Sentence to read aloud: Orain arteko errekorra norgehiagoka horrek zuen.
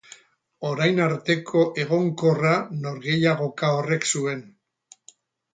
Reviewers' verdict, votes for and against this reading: rejected, 0, 2